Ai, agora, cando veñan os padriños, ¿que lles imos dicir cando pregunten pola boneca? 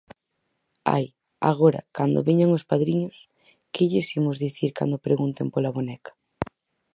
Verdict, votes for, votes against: accepted, 4, 0